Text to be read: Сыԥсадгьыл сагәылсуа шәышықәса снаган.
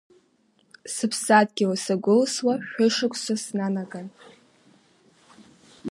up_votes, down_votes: 1, 2